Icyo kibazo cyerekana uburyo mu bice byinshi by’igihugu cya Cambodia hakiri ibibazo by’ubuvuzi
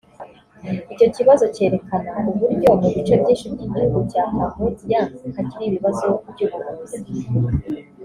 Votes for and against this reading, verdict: 1, 2, rejected